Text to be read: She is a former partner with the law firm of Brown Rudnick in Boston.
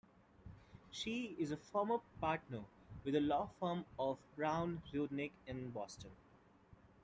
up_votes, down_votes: 2, 0